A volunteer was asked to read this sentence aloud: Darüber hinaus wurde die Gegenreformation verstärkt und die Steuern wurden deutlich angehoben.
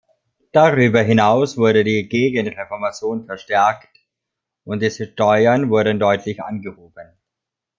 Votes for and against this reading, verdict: 1, 2, rejected